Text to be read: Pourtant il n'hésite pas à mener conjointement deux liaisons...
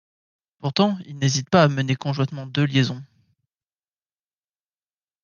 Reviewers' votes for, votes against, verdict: 2, 0, accepted